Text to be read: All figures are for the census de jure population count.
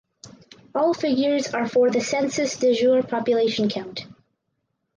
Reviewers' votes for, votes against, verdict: 4, 0, accepted